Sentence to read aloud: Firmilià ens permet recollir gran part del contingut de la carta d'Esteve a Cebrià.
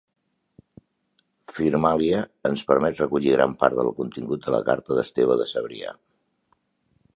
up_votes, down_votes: 1, 2